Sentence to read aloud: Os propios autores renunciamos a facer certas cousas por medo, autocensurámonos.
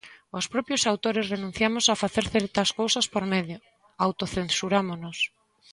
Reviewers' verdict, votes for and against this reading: accepted, 2, 0